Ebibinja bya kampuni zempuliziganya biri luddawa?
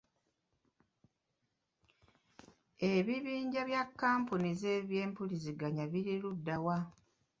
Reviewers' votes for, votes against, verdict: 2, 1, accepted